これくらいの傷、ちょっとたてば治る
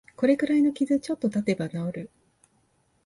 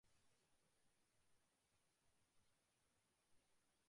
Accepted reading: first